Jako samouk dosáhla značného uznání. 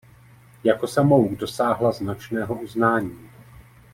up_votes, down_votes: 2, 0